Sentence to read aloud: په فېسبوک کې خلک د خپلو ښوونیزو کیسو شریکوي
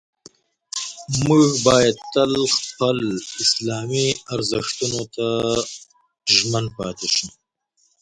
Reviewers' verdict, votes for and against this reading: rejected, 1, 2